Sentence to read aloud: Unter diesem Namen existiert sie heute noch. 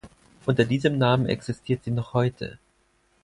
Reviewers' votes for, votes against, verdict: 2, 4, rejected